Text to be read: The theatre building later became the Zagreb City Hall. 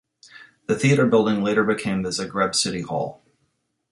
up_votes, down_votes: 2, 0